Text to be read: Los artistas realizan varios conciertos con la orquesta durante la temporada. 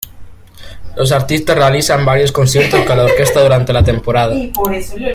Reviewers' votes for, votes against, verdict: 1, 2, rejected